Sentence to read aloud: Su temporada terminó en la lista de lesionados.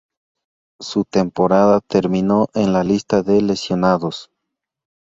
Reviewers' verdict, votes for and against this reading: accepted, 2, 0